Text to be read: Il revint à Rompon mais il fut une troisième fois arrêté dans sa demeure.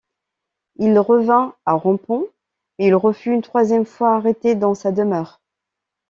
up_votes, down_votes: 0, 2